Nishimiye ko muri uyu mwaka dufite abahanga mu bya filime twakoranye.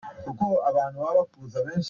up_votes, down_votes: 0, 2